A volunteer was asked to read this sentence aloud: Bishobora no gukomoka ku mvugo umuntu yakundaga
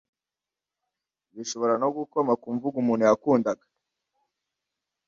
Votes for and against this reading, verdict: 1, 2, rejected